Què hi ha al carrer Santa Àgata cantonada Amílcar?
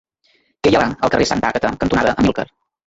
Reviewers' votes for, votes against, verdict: 0, 2, rejected